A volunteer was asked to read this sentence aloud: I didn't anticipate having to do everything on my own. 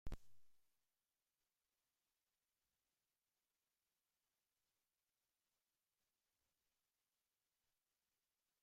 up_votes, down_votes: 0, 2